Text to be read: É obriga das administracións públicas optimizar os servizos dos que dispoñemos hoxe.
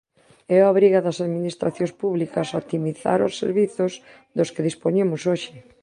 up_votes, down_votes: 1, 2